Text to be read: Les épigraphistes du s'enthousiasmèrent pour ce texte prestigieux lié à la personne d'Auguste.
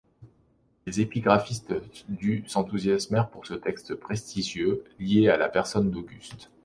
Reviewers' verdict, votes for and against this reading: accepted, 2, 0